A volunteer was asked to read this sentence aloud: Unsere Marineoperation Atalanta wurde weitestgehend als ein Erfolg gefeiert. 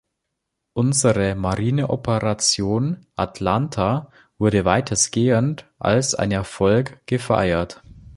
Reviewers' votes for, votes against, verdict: 0, 2, rejected